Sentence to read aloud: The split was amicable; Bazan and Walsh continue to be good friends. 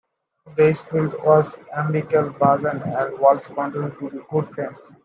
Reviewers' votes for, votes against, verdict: 0, 2, rejected